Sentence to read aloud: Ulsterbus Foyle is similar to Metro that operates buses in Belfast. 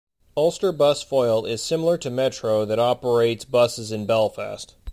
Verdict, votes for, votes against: accepted, 2, 0